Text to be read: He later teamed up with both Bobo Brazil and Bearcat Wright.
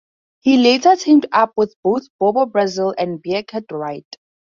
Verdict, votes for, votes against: rejected, 2, 4